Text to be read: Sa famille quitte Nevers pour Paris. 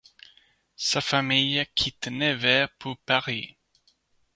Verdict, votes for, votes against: accepted, 2, 1